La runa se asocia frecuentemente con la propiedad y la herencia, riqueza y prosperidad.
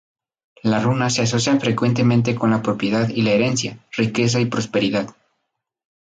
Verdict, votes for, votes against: rejected, 0, 2